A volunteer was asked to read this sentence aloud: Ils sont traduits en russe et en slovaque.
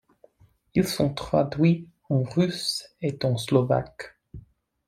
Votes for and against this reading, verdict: 2, 0, accepted